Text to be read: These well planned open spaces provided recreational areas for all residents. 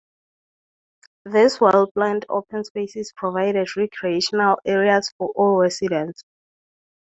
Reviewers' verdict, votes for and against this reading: rejected, 0, 4